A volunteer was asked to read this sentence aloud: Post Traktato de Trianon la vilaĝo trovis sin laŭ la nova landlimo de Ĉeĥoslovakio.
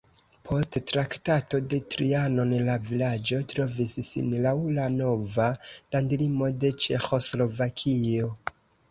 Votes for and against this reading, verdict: 2, 0, accepted